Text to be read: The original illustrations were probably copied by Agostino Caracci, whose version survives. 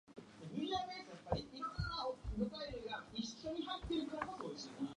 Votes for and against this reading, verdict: 0, 2, rejected